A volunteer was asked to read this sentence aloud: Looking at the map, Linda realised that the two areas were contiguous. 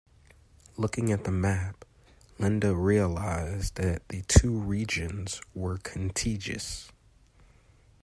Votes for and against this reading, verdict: 0, 2, rejected